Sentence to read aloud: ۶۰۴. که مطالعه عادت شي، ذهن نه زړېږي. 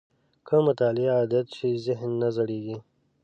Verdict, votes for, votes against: rejected, 0, 2